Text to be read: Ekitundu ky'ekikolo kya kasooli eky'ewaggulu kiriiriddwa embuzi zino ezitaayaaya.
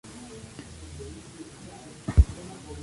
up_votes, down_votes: 0, 2